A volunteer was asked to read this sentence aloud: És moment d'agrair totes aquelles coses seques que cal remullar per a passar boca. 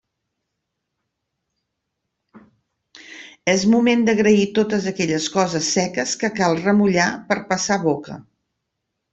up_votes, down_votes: 2, 0